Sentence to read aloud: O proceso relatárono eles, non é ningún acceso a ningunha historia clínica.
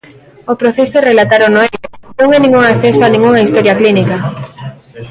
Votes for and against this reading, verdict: 0, 2, rejected